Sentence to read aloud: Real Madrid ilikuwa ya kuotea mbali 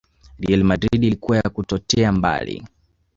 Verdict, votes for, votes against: rejected, 0, 2